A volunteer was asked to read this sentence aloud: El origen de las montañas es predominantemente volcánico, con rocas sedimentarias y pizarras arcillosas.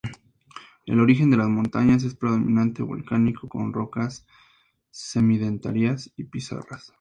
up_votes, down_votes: 0, 2